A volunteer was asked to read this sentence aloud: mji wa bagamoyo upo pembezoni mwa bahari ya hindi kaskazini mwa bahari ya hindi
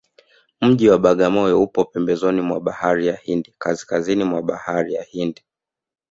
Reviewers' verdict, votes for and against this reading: rejected, 1, 2